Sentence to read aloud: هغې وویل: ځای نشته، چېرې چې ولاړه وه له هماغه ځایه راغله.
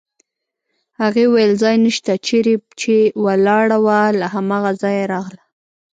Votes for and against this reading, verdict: 0, 2, rejected